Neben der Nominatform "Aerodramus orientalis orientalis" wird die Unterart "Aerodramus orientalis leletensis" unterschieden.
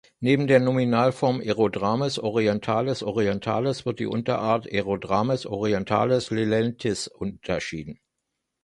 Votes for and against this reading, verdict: 0, 2, rejected